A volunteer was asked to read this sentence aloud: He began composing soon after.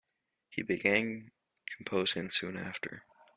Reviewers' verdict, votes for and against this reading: accepted, 2, 0